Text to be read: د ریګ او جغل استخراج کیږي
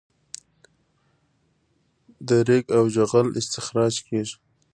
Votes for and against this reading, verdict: 2, 0, accepted